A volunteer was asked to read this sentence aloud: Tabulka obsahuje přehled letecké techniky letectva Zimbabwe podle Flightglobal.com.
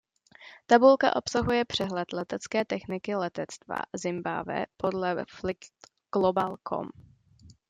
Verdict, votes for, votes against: rejected, 0, 2